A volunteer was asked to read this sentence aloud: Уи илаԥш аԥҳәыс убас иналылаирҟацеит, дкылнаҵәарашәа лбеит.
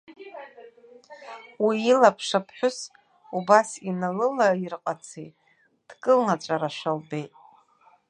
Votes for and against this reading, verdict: 0, 2, rejected